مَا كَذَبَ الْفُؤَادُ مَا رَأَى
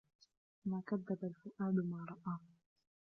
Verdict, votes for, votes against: rejected, 1, 2